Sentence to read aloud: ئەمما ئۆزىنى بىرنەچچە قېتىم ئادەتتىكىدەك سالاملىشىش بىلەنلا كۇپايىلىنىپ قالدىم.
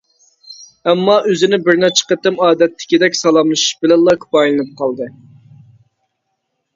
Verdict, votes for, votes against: rejected, 1, 2